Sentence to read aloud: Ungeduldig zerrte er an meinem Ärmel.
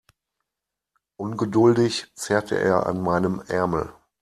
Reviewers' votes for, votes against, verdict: 2, 0, accepted